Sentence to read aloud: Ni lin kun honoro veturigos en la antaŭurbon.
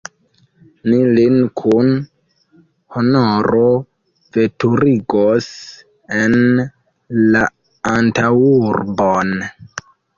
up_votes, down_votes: 1, 2